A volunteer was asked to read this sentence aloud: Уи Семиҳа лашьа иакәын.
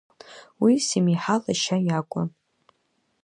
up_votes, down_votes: 2, 0